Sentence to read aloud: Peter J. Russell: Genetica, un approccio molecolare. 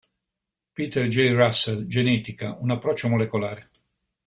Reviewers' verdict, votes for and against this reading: accepted, 2, 0